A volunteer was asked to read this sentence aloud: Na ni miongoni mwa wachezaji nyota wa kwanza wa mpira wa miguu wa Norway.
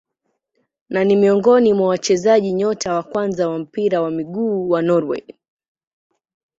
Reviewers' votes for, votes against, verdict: 4, 3, accepted